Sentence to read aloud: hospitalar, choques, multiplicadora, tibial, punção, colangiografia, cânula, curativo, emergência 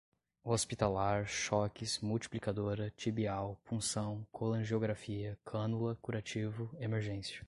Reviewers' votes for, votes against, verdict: 2, 0, accepted